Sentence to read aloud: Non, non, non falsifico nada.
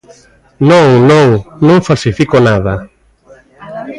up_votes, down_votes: 0, 2